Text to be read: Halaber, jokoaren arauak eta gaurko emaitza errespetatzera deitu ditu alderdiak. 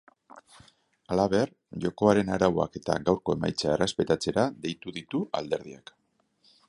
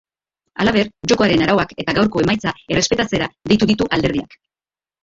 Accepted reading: first